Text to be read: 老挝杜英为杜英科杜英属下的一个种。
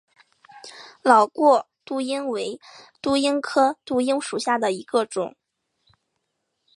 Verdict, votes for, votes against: accepted, 3, 1